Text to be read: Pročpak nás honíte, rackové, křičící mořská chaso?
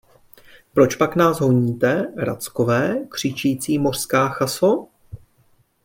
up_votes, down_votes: 3, 0